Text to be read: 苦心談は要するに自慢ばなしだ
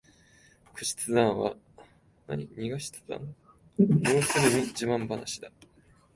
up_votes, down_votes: 0, 4